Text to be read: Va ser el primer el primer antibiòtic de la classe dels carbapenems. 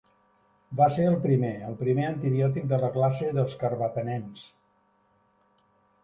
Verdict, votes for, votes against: accepted, 2, 0